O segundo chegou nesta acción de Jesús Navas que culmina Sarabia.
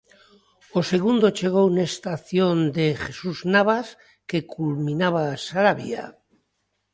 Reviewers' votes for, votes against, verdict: 0, 2, rejected